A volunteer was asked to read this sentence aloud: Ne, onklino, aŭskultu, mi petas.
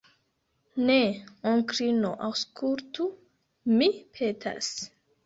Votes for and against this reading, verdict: 1, 2, rejected